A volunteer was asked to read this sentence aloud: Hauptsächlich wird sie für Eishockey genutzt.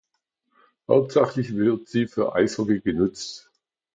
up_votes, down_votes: 0, 2